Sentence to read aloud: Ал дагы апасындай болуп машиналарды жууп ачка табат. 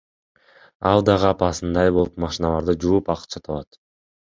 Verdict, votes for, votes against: accepted, 2, 1